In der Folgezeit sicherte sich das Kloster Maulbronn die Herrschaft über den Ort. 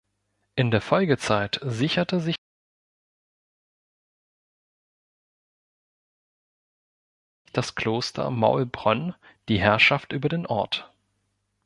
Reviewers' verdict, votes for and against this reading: rejected, 1, 3